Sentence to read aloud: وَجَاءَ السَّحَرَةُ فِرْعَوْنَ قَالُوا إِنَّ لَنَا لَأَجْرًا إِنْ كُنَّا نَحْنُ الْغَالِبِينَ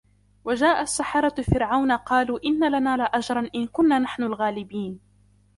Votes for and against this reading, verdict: 2, 0, accepted